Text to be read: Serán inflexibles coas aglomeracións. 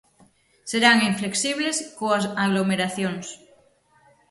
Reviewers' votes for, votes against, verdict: 6, 0, accepted